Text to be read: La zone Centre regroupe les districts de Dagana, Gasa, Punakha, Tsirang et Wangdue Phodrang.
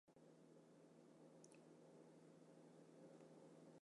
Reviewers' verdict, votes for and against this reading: rejected, 0, 2